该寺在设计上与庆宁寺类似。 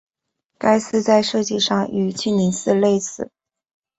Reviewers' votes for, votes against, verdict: 2, 1, accepted